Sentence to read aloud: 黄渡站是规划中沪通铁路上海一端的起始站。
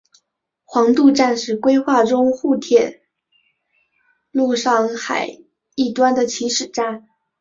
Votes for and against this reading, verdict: 0, 2, rejected